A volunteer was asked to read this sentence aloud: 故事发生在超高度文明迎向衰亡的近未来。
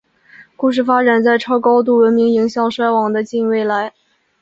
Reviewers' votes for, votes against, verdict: 2, 1, accepted